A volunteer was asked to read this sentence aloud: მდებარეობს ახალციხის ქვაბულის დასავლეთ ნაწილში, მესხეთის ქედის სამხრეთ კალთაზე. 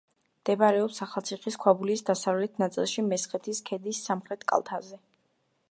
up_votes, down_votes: 2, 0